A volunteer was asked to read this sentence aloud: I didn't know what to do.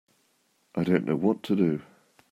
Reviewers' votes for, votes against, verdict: 0, 2, rejected